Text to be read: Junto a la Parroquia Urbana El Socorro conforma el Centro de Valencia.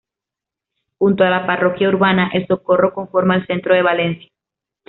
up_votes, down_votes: 2, 0